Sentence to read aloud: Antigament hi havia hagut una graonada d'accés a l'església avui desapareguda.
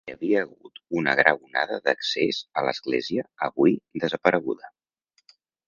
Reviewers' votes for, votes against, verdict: 1, 2, rejected